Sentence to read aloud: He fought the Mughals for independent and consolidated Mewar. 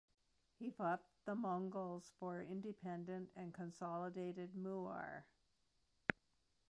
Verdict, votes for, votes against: rejected, 1, 2